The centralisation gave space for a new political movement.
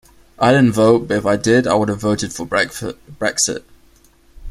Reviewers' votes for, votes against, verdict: 0, 2, rejected